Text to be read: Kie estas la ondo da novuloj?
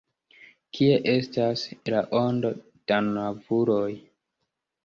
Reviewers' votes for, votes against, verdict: 0, 2, rejected